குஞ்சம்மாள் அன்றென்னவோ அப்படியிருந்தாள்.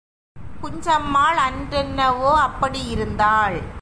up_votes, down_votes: 2, 1